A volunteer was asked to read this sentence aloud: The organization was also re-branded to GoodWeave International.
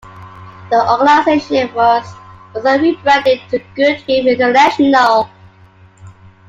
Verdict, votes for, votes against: rejected, 1, 3